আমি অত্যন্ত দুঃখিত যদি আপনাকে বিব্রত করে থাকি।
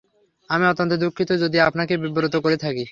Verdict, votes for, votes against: accepted, 3, 0